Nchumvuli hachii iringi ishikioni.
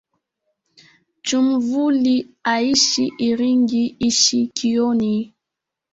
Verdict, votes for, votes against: rejected, 2, 3